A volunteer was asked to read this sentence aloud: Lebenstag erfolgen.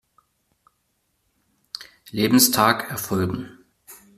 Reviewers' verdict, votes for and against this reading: accepted, 2, 0